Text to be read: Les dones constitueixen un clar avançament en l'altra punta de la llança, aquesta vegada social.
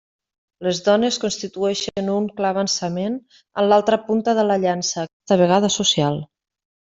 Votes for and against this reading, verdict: 0, 2, rejected